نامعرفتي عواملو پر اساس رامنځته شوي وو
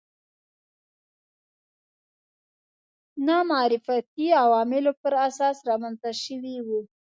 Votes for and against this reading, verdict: 0, 2, rejected